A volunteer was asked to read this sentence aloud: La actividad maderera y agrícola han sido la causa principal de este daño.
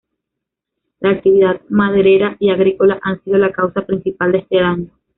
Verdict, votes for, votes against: accepted, 2, 0